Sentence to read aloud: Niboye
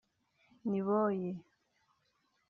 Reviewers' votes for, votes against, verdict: 2, 0, accepted